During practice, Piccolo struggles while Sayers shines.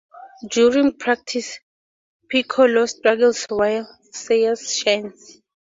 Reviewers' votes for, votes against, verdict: 4, 2, accepted